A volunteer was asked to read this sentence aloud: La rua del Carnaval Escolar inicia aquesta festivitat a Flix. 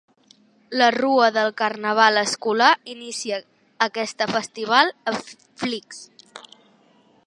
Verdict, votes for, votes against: rejected, 2, 3